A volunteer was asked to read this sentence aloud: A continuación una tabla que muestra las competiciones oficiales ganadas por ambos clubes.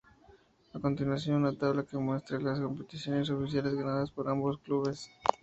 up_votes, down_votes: 2, 0